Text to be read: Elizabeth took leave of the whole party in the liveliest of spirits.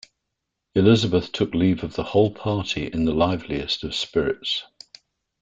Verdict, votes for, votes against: accepted, 2, 0